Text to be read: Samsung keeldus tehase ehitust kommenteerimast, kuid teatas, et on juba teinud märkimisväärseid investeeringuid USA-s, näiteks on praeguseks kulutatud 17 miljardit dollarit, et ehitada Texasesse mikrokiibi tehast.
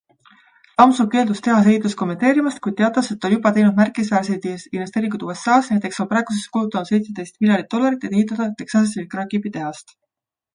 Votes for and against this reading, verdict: 0, 2, rejected